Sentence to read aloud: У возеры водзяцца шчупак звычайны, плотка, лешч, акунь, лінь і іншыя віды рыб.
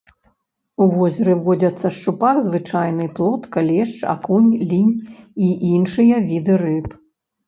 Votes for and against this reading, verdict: 1, 2, rejected